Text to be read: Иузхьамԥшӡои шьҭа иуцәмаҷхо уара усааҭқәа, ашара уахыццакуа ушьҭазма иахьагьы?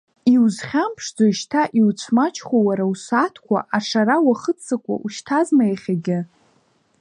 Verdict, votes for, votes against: rejected, 1, 2